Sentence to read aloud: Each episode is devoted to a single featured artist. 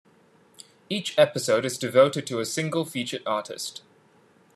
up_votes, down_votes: 3, 0